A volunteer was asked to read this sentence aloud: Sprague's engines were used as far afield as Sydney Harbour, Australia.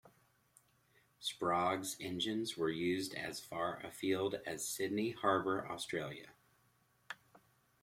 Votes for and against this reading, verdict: 2, 0, accepted